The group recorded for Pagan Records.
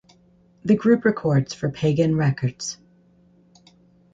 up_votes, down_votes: 2, 2